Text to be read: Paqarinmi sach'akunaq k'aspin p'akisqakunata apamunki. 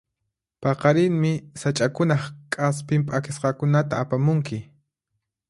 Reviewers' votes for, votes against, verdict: 4, 0, accepted